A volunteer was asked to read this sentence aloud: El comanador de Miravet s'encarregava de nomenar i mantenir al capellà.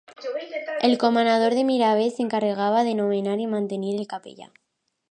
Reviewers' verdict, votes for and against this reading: accepted, 2, 0